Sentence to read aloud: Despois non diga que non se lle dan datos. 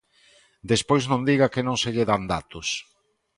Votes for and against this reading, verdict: 2, 0, accepted